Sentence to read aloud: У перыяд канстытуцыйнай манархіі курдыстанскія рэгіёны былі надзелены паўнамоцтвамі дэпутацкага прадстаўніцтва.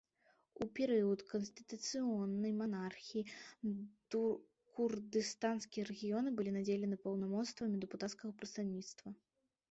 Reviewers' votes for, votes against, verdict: 0, 2, rejected